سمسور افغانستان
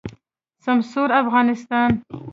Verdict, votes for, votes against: accepted, 2, 0